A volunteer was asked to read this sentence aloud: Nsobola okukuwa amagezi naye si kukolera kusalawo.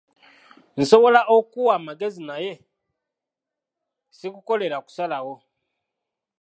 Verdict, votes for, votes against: accepted, 2, 0